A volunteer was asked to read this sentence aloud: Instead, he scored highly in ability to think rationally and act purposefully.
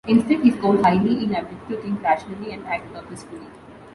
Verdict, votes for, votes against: rejected, 1, 2